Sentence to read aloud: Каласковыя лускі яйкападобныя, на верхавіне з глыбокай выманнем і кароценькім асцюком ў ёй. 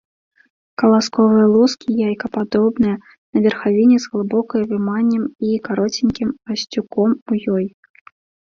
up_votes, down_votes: 2, 0